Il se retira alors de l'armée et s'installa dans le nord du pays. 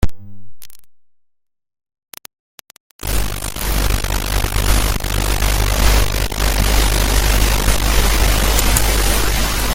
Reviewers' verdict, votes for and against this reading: rejected, 0, 2